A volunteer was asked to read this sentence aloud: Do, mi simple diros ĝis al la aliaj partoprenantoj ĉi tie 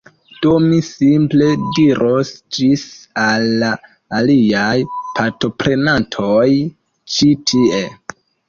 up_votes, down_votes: 2, 0